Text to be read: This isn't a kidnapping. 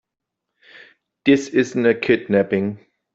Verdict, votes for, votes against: accepted, 2, 0